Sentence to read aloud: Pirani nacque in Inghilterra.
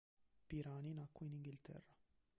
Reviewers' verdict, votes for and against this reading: rejected, 1, 2